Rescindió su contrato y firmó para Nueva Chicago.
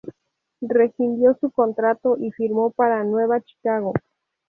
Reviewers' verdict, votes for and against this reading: accepted, 2, 0